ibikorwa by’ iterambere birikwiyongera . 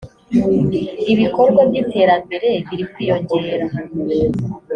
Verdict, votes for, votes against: accepted, 2, 0